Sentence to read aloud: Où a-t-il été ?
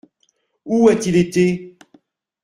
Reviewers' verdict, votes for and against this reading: accepted, 2, 0